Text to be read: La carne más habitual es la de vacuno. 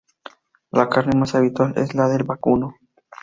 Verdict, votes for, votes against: accepted, 2, 0